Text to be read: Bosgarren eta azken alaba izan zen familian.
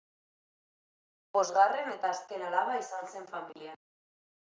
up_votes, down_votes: 2, 0